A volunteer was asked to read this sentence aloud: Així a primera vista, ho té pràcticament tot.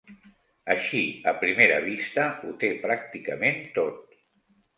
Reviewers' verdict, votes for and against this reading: accepted, 2, 0